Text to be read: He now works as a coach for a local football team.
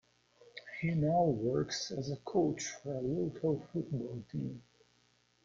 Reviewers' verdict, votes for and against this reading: rejected, 0, 2